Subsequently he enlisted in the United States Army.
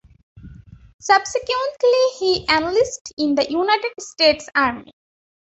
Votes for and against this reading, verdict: 0, 2, rejected